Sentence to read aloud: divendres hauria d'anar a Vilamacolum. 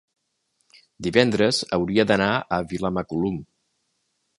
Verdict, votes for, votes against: accepted, 3, 0